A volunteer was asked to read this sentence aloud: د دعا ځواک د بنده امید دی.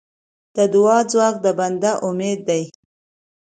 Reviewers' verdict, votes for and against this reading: accepted, 2, 0